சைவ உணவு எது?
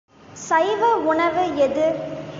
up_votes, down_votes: 2, 0